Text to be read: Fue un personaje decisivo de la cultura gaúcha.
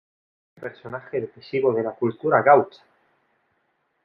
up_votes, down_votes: 1, 2